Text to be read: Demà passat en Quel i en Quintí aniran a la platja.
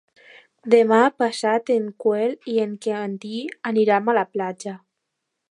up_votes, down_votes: 1, 2